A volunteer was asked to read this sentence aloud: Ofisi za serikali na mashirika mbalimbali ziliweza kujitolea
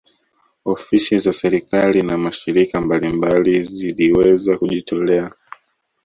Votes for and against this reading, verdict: 2, 0, accepted